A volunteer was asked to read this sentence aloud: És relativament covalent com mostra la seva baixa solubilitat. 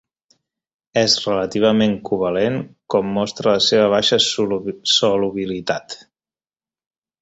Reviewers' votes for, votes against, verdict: 1, 4, rejected